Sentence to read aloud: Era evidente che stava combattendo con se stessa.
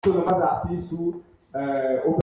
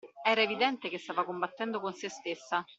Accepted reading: second